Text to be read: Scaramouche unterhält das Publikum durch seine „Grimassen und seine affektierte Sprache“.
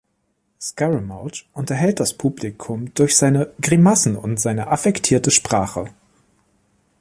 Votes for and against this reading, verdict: 3, 0, accepted